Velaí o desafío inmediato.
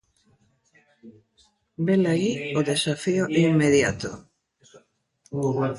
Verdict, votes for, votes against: rejected, 1, 2